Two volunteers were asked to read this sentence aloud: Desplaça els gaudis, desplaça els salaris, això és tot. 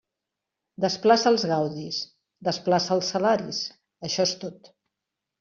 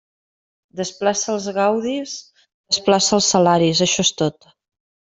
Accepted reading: first